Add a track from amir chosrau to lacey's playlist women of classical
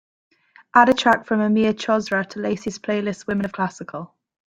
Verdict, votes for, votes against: accepted, 2, 1